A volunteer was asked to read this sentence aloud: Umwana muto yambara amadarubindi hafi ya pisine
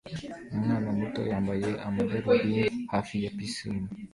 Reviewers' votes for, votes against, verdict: 2, 1, accepted